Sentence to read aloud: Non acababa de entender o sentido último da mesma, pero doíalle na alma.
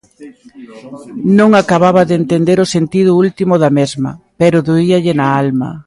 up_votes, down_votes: 0, 2